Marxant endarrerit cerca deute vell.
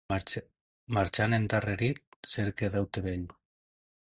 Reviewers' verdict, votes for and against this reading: rejected, 0, 2